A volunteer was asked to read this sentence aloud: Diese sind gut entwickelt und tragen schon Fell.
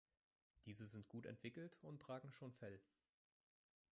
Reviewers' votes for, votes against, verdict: 0, 3, rejected